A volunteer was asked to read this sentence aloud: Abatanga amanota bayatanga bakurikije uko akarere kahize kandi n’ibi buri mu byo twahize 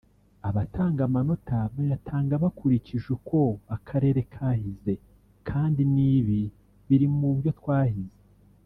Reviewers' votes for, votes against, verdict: 1, 2, rejected